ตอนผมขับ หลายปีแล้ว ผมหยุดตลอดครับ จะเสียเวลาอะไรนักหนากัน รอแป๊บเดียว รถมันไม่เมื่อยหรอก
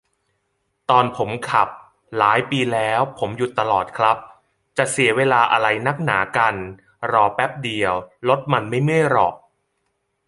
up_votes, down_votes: 2, 0